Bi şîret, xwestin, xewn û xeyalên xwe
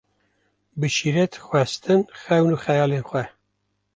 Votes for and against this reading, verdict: 2, 0, accepted